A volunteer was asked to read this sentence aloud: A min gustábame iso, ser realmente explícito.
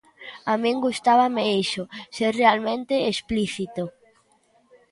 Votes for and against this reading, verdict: 2, 0, accepted